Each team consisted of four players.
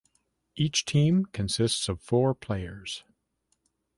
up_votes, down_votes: 2, 0